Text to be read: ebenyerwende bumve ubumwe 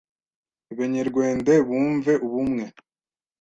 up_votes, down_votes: 1, 2